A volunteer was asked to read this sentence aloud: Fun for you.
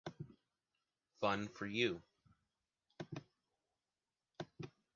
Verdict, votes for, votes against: accepted, 2, 0